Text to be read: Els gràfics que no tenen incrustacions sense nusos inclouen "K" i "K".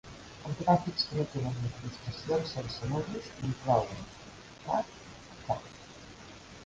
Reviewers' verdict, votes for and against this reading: accepted, 2, 1